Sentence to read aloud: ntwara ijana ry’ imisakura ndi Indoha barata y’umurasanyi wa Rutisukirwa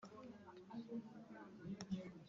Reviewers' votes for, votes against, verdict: 0, 2, rejected